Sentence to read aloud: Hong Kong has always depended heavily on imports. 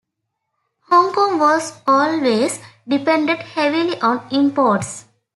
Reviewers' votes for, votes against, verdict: 1, 2, rejected